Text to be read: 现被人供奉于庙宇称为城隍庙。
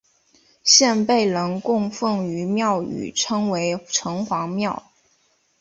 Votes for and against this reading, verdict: 3, 0, accepted